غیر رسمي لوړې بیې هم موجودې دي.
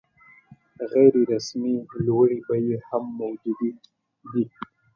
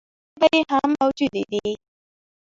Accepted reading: first